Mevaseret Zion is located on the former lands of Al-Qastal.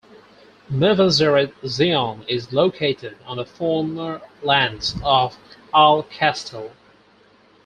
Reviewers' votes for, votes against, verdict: 4, 0, accepted